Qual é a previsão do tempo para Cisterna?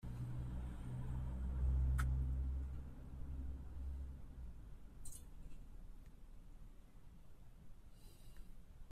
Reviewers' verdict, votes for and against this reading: rejected, 0, 2